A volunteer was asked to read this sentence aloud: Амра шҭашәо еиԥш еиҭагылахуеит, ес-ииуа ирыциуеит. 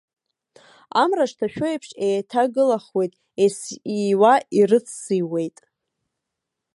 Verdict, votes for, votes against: accepted, 2, 1